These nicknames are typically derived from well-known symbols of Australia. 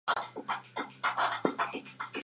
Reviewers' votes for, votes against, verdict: 0, 4, rejected